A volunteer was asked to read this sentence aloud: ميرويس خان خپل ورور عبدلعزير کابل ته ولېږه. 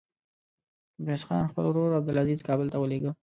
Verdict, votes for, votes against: accepted, 2, 0